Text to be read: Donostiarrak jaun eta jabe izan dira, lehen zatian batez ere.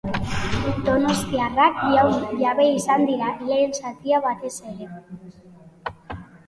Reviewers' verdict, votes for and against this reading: rejected, 0, 2